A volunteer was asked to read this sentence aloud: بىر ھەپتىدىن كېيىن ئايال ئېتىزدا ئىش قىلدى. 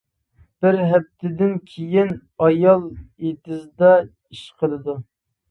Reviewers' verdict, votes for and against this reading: rejected, 0, 2